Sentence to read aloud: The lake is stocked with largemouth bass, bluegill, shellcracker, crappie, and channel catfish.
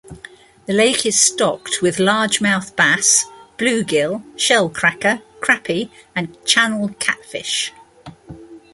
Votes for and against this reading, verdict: 0, 2, rejected